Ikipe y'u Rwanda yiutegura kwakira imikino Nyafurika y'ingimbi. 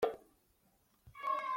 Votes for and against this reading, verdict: 0, 2, rejected